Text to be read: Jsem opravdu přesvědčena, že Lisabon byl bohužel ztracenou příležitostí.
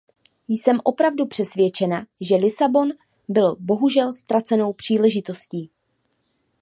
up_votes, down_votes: 2, 0